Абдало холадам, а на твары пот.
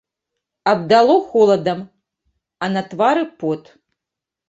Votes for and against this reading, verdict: 2, 0, accepted